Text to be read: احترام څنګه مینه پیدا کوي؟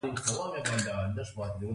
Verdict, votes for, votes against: rejected, 0, 2